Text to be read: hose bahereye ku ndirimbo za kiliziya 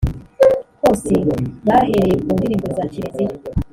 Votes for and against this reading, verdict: 2, 0, accepted